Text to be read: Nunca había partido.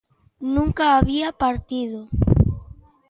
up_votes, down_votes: 2, 0